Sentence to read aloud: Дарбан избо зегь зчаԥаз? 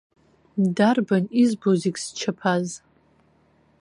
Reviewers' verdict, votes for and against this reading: accepted, 2, 0